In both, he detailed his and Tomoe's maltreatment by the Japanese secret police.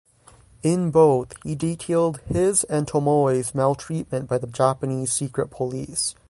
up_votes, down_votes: 6, 0